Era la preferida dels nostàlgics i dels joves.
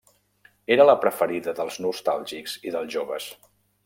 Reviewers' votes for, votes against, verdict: 3, 0, accepted